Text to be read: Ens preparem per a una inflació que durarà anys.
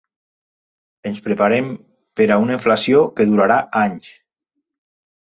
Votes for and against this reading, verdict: 3, 0, accepted